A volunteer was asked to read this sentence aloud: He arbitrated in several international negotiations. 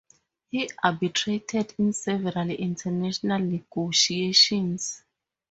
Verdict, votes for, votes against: accepted, 2, 0